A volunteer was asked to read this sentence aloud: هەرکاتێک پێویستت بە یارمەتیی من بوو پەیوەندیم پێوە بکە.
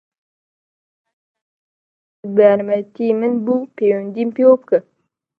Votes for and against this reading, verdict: 0, 2, rejected